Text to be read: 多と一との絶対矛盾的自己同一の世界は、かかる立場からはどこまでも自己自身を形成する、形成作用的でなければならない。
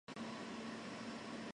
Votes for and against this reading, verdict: 0, 2, rejected